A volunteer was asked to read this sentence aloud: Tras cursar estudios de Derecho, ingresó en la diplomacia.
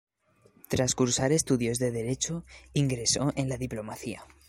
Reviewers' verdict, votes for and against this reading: accepted, 2, 1